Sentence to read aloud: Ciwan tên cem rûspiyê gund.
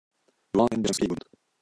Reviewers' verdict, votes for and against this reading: rejected, 1, 2